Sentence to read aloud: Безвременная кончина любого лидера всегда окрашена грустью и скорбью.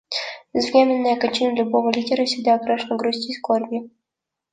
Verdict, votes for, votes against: accepted, 2, 0